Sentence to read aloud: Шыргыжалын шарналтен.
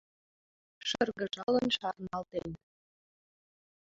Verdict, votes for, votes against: accepted, 2, 0